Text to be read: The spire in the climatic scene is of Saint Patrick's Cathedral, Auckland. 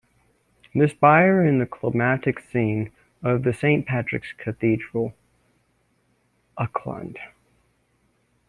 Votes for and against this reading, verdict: 0, 2, rejected